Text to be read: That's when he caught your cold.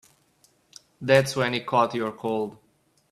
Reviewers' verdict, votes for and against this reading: accepted, 2, 0